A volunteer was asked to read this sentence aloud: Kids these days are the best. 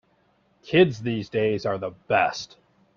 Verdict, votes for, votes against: accepted, 4, 0